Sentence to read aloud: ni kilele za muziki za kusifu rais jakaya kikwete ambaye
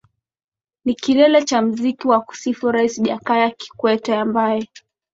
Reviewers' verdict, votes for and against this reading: accepted, 2, 0